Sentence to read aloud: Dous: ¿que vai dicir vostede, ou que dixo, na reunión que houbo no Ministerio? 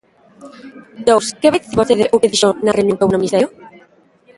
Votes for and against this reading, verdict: 0, 2, rejected